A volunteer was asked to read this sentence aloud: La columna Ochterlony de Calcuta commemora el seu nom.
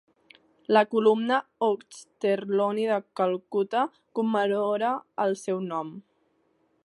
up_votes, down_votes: 1, 2